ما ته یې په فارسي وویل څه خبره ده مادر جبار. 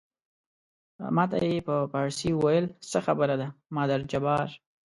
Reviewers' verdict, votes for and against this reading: accepted, 2, 0